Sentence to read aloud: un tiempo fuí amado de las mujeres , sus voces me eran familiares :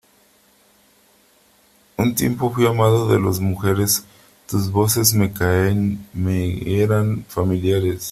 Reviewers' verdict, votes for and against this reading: rejected, 0, 3